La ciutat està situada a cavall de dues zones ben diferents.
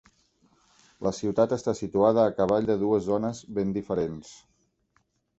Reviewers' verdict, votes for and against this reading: accepted, 6, 0